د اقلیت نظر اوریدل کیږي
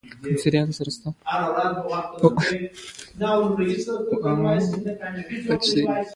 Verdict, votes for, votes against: rejected, 0, 2